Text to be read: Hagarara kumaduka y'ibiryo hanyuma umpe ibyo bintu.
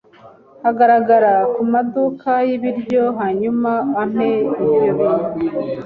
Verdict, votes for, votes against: rejected, 0, 2